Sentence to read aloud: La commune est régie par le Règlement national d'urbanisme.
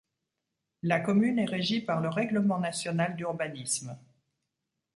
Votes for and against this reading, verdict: 2, 0, accepted